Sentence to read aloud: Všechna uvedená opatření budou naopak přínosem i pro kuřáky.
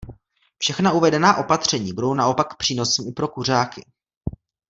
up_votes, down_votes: 2, 0